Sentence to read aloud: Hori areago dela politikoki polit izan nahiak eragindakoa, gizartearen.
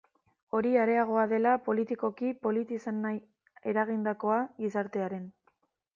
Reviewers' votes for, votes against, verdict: 1, 2, rejected